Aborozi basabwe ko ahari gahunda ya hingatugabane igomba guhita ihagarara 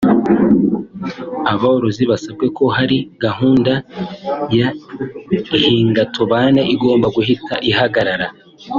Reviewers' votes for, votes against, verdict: 2, 0, accepted